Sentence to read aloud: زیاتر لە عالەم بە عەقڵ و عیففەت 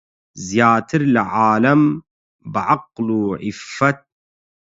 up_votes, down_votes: 4, 4